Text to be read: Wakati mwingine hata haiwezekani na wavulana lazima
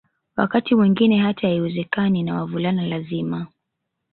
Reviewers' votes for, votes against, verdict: 2, 0, accepted